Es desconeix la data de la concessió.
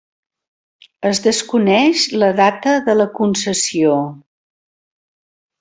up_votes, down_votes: 3, 0